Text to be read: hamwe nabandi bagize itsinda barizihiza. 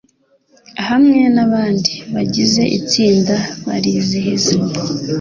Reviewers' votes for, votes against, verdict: 2, 0, accepted